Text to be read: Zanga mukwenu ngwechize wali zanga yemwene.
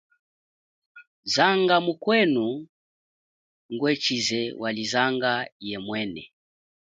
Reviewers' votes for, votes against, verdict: 2, 0, accepted